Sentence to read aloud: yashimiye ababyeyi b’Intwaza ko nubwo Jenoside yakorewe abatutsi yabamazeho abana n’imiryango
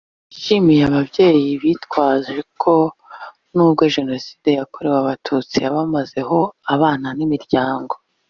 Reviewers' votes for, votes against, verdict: 1, 2, rejected